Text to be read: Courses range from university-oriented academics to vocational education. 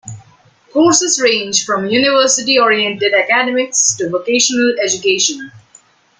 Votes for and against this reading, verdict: 2, 1, accepted